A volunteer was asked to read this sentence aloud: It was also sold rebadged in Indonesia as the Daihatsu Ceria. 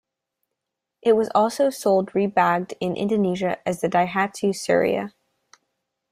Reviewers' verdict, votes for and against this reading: accepted, 2, 1